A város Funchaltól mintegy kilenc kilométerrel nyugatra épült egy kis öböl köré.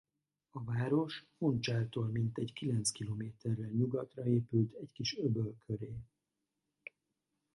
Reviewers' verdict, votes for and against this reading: rejected, 0, 2